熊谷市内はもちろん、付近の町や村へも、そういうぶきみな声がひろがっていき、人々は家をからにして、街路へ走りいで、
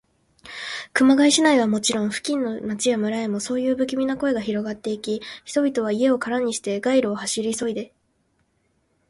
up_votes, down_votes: 3, 1